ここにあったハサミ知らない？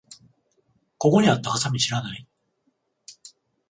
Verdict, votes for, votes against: accepted, 14, 0